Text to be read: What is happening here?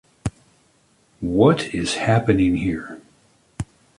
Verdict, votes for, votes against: accepted, 2, 0